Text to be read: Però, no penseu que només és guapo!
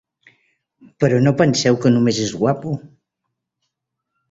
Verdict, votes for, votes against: accepted, 3, 0